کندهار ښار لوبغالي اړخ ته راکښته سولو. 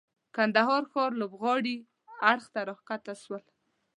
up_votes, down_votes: 1, 2